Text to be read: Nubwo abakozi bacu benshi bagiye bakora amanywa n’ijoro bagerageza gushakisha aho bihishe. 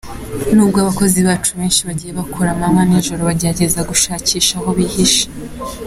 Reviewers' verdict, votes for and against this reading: accepted, 2, 1